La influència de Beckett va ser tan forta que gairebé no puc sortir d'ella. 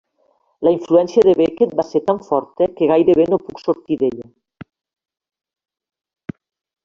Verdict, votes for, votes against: accepted, 2, 0